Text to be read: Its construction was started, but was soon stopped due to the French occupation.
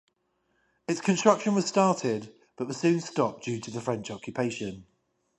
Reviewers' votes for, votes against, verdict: 10, 0, accepted